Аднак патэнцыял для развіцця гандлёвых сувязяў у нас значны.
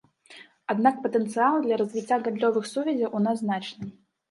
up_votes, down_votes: 0, 2